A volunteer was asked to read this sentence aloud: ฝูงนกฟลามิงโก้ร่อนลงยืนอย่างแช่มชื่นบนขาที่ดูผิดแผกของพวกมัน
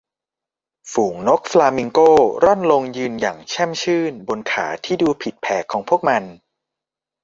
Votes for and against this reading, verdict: 2, 0, accepted